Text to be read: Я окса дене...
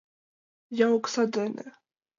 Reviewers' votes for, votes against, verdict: 2, 0, accepted